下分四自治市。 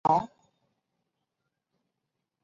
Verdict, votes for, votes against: rejected, 2, 3